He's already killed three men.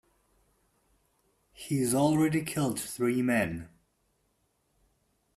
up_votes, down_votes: 2, 0